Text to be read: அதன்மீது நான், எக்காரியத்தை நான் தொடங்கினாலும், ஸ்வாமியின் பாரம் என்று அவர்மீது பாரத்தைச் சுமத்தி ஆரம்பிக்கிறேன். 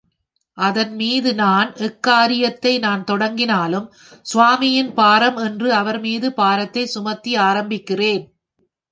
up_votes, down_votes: 3, 0